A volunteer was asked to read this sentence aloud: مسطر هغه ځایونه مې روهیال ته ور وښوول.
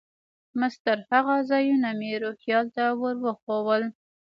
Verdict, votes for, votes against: rejected, 1, 2